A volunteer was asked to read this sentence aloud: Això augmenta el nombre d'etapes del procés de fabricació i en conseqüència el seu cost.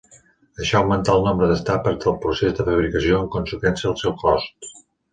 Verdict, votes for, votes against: rejected, 1, 2